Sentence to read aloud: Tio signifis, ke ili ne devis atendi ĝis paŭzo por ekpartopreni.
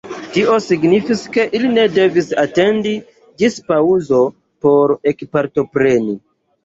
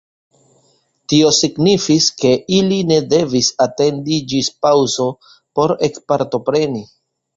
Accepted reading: second